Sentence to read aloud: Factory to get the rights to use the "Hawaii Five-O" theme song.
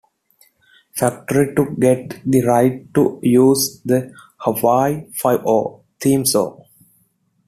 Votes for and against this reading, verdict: 0, 2, rejected